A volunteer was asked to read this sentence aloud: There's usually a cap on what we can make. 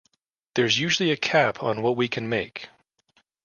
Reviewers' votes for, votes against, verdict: 2, 0, accepted